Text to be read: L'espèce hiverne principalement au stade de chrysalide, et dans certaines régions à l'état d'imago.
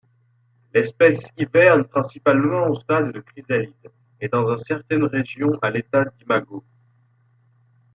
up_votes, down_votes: 1, 2